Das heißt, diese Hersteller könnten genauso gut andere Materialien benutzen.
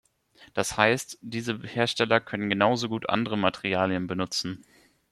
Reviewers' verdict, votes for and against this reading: rejected, 1, 2